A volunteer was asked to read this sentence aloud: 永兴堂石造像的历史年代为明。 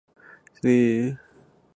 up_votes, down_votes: 0, 2